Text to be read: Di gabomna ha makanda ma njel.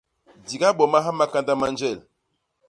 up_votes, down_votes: 1, 2